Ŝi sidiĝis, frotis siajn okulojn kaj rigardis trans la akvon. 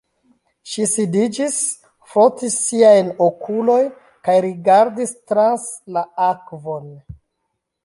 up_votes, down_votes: 0, 2